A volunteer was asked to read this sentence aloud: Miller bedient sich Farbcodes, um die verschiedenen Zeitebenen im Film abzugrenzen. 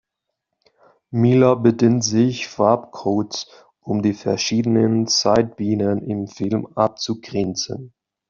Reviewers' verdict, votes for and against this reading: rejected, 1, 2